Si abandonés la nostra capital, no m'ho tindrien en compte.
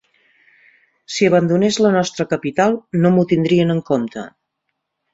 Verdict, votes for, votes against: accepted, 3, 0